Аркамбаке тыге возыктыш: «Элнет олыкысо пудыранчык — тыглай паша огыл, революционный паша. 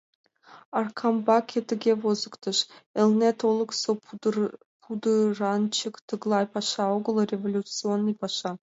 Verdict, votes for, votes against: accepted, 2, 0